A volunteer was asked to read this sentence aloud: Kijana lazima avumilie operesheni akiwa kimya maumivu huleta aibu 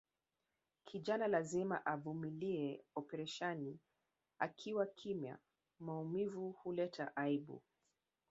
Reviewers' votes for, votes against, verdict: 2, 0, accepted